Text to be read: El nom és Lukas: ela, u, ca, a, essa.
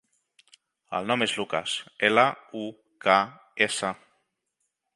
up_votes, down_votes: 0, 3